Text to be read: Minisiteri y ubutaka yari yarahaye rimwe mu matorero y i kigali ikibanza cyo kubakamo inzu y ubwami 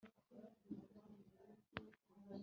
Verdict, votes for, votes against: rejected, 0, 3